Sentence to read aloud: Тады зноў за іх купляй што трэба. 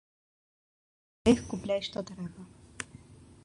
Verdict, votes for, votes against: rejected, 0, 2